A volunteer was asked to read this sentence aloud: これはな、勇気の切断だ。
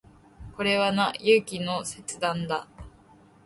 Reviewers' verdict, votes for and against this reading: accepted, 2, 0